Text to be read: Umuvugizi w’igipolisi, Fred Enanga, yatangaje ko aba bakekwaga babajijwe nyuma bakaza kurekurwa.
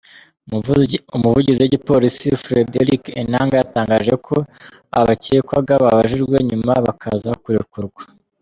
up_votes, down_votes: 0, 2